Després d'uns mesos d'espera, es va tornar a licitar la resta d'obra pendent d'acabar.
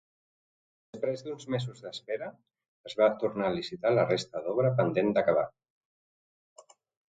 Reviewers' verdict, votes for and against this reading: rejected, 2, 3